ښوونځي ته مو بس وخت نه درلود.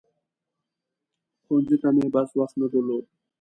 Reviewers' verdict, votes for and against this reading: accepted, 2, 0